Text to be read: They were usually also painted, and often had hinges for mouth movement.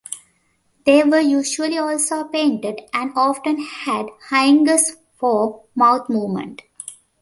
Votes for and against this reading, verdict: 0, 2, rejected